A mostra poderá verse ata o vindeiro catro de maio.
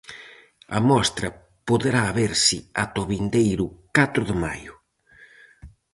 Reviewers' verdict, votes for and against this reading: accepted, 4, 0